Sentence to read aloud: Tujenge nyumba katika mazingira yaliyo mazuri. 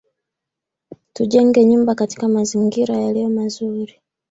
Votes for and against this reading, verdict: 2, 1, accepted